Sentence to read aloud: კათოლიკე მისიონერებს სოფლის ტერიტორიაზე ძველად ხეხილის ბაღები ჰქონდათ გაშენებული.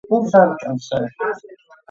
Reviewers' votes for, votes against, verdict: 0, 2, rejected